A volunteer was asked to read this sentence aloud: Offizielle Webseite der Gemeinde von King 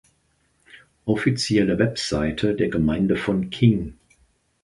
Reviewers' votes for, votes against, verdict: 2, 0, accepted